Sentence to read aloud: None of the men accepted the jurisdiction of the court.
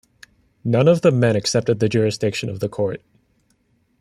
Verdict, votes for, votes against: accepted, 2, 0